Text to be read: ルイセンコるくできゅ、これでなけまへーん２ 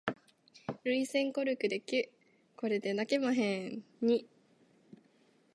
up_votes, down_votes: 0, 2